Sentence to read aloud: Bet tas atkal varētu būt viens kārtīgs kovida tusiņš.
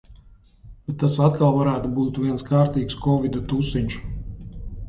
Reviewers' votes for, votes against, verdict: 1, 2, rejected